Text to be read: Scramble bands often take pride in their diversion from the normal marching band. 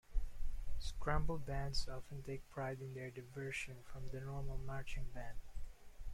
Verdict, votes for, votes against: rejected, 1, 2